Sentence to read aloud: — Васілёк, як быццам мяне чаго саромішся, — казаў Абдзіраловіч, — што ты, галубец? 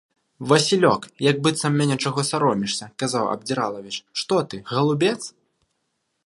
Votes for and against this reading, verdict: 0, 2, rejected